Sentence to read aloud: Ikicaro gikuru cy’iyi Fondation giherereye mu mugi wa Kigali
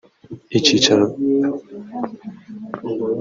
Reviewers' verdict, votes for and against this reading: rejected, 0, 3